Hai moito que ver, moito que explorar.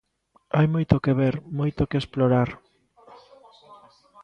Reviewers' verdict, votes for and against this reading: accepted, 2, 0